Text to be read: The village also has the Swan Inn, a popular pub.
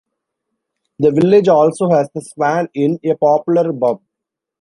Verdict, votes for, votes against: rejected, 1, 2